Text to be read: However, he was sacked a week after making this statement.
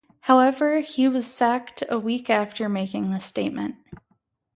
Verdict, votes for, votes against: accepted, 2, 0